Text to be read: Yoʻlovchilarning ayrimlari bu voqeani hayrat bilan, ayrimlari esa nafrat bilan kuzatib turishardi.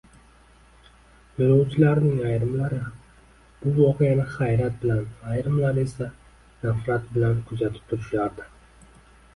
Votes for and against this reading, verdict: 2, 1, accepted